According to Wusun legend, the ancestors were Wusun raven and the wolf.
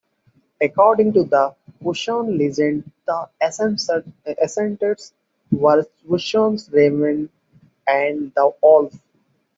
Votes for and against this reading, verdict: 2, 1, accepted